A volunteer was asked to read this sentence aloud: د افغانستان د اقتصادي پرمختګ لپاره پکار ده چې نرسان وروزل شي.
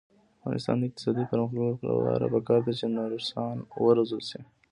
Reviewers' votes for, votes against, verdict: 2, 1, accepted